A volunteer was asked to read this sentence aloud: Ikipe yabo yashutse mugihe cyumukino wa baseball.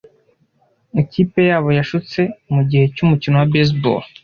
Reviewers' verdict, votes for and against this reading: accepted, 2, 0